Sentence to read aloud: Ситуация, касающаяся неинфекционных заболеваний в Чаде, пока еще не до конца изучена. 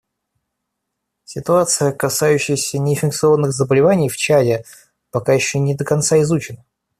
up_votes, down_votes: 0, 2